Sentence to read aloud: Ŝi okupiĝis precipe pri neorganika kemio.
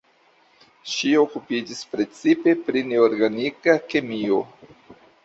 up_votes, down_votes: 1, 2